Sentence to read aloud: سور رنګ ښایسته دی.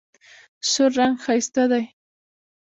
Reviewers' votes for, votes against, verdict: 1, 2, rejected